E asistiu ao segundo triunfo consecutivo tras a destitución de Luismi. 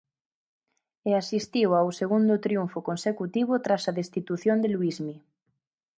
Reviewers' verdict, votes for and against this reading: accepted, 4, 0